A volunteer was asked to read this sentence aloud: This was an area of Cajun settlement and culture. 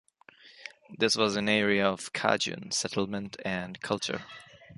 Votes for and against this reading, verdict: 3, 2, accepted